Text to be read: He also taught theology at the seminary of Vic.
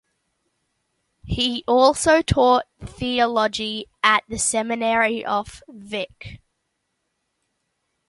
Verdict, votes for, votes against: rejected, 1, 2